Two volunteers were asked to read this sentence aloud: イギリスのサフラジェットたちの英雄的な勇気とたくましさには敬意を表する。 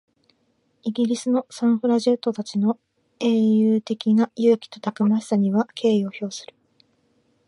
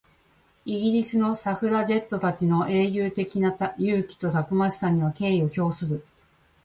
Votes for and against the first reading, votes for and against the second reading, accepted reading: 2, 0, 0, 2, first